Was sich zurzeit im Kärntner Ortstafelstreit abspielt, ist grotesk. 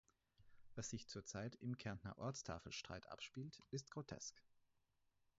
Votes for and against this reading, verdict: 4, 0, accepted